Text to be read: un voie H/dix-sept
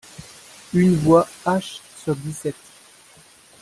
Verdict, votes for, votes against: rejected, 0, 2